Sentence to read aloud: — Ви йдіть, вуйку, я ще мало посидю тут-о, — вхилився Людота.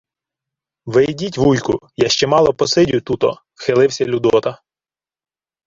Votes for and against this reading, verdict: 2, 0, accepted